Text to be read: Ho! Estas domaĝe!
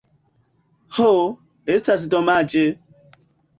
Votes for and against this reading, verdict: 2, 1, accepted